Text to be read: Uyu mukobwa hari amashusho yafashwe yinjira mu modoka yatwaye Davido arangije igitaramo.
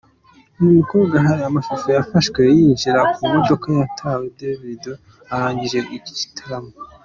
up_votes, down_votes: 2, 1